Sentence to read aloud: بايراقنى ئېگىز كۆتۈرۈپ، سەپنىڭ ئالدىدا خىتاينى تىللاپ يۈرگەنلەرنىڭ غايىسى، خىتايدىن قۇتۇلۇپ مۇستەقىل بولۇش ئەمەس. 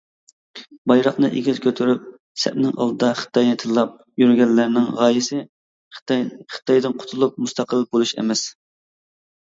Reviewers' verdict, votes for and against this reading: rejected, 1, 2